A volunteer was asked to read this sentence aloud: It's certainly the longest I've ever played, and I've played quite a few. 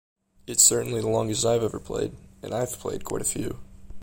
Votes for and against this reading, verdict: 2, 0, accepted